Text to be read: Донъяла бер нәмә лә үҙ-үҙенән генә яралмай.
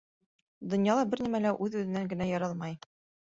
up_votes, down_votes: 2, 0